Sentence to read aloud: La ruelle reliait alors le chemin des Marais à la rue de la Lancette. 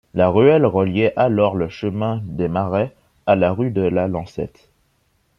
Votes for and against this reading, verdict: 2, 0, accepted